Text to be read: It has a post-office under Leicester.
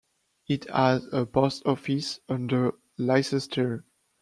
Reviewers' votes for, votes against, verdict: 2, 1, accepted